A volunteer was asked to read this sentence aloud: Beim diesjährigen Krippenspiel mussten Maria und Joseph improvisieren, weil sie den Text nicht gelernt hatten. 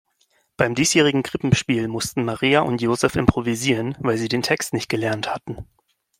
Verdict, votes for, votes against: accepted, 2, 0